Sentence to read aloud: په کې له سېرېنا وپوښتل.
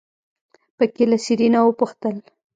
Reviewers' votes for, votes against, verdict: 2, 0, accepted